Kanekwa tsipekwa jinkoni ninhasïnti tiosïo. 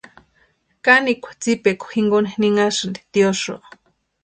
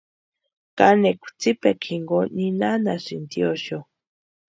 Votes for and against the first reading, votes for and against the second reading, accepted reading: 2, 0, 0, 2, first